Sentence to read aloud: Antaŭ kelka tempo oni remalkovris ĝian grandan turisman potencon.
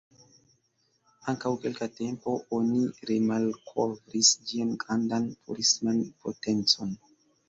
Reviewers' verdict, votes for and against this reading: accepted, 2, 0